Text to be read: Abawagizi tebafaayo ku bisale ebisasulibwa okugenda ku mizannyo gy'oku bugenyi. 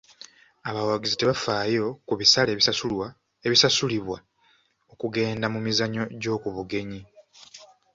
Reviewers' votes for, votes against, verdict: 1, 2, rejected